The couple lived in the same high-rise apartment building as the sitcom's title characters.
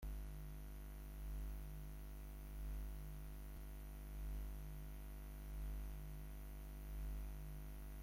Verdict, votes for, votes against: rejected, 0, 2